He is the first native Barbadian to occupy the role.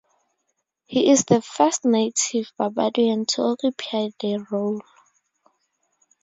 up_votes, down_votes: 2, 2